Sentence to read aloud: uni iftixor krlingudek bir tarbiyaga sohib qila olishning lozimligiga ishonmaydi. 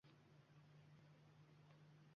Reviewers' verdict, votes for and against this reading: rejected, 0, 2